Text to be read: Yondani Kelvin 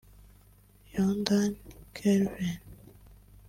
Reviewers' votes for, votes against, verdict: 0, 2, rejected